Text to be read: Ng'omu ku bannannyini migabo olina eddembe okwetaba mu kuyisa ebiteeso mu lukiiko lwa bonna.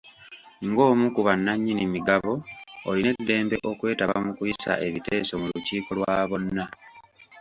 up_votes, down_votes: 2, 0